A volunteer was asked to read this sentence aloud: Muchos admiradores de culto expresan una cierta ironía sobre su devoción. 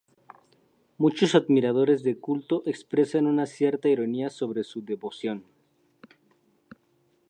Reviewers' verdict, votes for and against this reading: accepted, 2, 0